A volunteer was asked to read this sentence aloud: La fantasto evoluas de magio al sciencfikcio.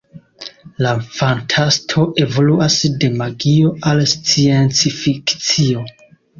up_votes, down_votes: 1, 3